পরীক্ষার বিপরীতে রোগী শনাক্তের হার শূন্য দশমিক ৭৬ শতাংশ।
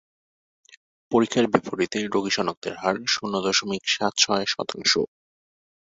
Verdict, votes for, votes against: rejected, 0, 2